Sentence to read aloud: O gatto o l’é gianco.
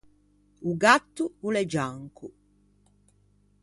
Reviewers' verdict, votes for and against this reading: accepted, 2, 0